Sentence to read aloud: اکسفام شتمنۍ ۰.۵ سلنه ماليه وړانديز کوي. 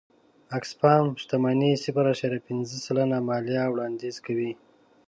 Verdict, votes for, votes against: rejected, 0, 2